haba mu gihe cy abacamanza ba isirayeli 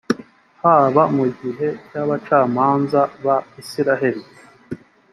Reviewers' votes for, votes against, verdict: 2, 0, accepted